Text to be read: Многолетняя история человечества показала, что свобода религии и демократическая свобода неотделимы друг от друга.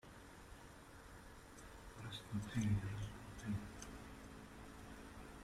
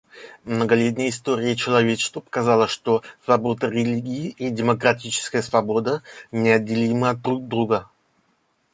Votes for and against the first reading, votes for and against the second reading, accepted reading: 0, 2, 2, 1, second